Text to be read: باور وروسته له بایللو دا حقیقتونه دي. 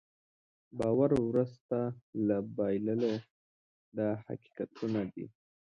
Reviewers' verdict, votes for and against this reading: accepted, 2, 0